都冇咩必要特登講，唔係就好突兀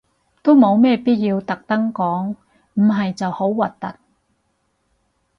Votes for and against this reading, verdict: 0, 4, rejected